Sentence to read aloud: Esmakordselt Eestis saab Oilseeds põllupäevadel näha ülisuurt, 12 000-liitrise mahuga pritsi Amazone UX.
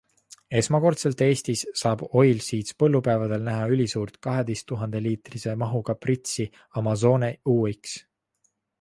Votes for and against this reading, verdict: 0, 2, rejected